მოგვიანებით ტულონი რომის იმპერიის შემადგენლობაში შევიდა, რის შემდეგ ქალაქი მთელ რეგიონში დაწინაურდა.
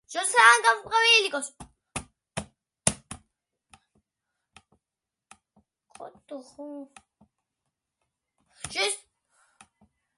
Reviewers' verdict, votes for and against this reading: rejected, 0, 2